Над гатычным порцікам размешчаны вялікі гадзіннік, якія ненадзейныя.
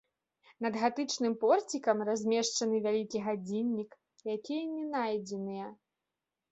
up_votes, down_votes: 1, 2